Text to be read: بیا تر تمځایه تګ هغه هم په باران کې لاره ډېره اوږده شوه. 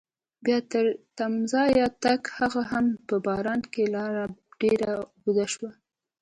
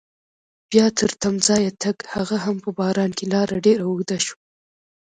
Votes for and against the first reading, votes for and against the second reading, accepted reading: 2, 0, 1, 2, first